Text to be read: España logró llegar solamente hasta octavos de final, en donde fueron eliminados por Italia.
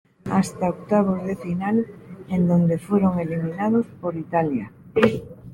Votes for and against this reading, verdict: 0, 2, rejected